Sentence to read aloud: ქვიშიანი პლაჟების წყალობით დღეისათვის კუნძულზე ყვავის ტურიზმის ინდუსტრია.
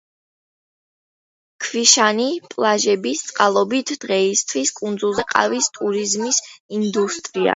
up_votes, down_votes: 2, 1